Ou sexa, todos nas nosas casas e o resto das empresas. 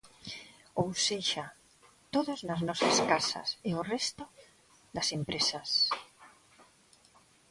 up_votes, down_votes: 2, 0